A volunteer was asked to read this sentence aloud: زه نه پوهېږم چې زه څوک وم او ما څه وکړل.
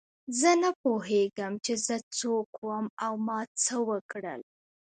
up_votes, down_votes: 0, 2